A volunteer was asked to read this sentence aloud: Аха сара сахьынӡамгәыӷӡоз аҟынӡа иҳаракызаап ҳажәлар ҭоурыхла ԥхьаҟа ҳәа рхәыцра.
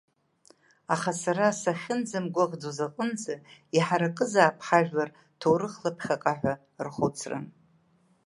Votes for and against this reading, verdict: 2, 0, accepted